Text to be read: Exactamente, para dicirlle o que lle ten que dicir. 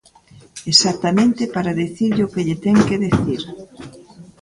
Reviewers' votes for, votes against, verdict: 0, 2, rejected